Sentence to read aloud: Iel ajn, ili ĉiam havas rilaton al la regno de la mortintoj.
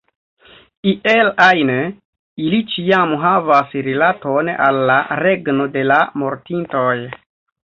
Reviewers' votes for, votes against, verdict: 1, 2, rejected